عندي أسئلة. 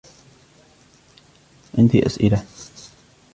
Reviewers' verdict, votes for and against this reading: accepted, 2, 1